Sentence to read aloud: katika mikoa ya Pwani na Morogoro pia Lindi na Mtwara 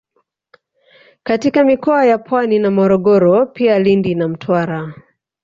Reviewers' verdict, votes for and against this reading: rejected, 1, 2